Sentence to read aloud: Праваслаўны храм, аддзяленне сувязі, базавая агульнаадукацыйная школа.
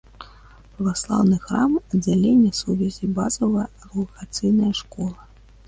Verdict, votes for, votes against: accepted, 2, 1